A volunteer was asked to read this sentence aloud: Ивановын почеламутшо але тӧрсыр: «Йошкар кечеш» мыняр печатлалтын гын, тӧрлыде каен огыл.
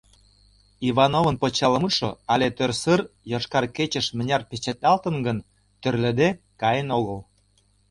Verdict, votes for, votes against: accepted, 2, 0